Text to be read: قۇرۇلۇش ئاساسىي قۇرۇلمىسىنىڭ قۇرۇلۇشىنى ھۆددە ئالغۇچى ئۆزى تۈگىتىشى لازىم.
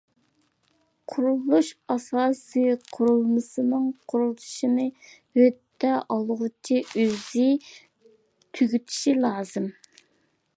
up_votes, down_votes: 2, 0